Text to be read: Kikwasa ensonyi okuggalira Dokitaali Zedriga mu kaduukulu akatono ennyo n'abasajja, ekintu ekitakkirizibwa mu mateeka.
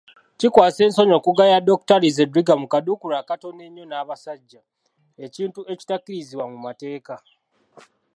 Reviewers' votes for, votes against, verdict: 2, 1, accepted